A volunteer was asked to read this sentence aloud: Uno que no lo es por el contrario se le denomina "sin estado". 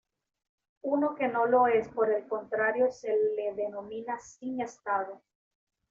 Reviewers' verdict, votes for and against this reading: accepted, 2, 0